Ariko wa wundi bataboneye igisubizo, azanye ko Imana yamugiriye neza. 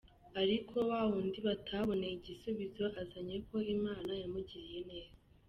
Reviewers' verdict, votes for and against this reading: rejected, 0, 2